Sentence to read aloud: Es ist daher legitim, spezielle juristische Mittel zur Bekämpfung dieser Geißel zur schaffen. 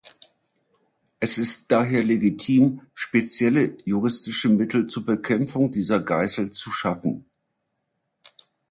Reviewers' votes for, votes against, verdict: 0, 2, rejected